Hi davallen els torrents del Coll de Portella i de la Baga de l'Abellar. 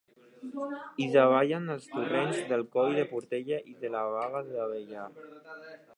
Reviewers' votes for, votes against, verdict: 1, 3, rejected